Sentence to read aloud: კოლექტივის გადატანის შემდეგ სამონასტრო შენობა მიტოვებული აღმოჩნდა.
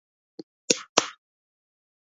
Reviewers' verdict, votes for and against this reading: rejected, 0, 2